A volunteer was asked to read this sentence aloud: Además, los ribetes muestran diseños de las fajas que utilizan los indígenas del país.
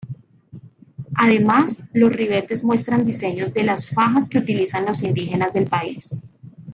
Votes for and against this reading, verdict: 1, 2, rejected